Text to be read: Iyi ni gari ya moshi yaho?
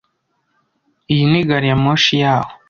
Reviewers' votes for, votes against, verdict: 2, 0, accepted